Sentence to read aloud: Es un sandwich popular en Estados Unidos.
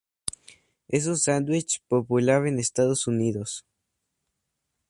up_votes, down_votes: 2, 0